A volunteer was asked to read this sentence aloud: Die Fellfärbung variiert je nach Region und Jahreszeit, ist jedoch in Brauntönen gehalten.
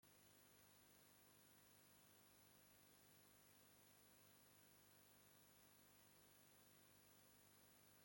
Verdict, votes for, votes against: rejected, 0, 2